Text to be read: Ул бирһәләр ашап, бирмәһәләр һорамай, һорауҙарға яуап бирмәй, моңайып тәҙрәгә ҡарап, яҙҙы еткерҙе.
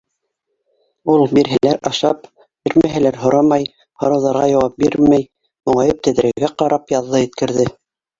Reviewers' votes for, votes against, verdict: 0, 2, rejected